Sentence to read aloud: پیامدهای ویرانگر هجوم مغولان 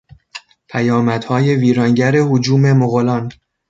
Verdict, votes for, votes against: accepted, 2, 0